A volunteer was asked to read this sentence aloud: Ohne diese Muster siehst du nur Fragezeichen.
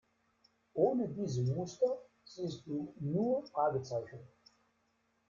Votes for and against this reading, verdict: 2, 0, accepted